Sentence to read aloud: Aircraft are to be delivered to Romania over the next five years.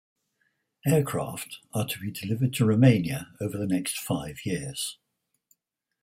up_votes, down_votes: 4, 0